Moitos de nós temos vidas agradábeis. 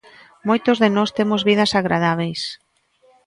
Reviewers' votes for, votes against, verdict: 2, 0, accepted